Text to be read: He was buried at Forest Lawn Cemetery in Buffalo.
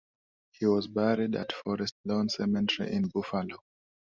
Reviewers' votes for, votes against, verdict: 2, 0, accepted